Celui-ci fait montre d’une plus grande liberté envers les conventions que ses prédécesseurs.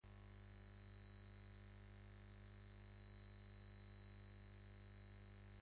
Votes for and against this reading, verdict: 0, 2, rejected